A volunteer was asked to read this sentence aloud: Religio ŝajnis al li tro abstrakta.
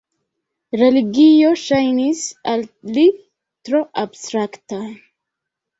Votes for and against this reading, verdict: 0, 2, rejected